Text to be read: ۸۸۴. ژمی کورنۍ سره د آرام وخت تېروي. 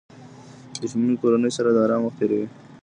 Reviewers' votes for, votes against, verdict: 0, 2, rejected